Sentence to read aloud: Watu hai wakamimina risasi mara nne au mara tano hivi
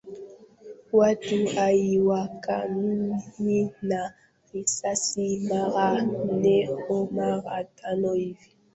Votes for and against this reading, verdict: 0, 3, rejected